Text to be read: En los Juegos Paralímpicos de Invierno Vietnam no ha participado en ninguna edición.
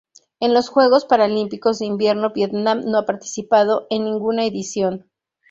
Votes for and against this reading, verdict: 0, 2, rejected